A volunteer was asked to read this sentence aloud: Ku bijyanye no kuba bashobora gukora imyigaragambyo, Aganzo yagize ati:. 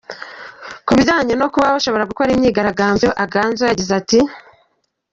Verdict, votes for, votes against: accepted, 3, 0